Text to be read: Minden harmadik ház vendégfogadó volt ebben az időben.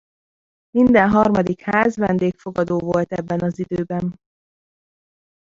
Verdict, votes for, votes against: rejected, 1, 2